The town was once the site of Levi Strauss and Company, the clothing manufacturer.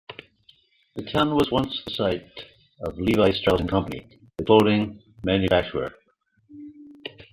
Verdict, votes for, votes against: rejected, 0, 2